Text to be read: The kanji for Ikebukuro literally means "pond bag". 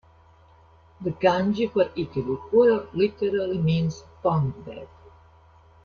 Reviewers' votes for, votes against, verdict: 1, 2, rejected